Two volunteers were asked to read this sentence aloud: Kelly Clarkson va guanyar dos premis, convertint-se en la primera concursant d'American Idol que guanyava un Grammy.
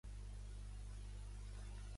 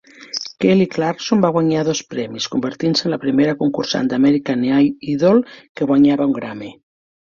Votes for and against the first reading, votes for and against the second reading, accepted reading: 0, 2, 4, 1, second